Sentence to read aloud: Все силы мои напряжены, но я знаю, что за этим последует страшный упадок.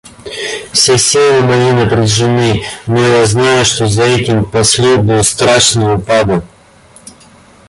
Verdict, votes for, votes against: rejected, 1, 2